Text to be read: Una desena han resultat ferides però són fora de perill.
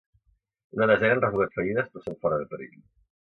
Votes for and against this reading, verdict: 1, 2, rejected